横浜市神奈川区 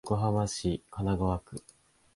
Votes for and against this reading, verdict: 3, 1, accepted